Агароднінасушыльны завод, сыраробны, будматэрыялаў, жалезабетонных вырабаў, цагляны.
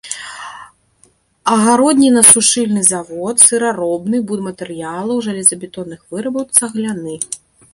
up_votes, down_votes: 1, 2